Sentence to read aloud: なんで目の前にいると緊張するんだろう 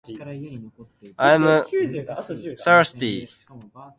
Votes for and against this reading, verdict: 10, 30, rejected